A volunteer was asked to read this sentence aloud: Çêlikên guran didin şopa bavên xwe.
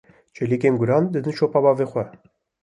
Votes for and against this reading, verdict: 2, 0, accepted